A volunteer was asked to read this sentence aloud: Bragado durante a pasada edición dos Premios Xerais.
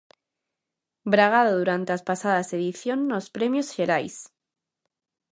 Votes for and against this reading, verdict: 0, 2, rejected